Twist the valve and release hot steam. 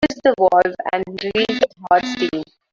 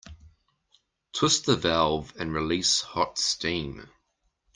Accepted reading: second